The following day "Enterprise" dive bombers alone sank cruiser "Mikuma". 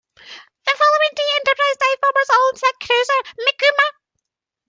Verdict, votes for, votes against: rejected, 0, 2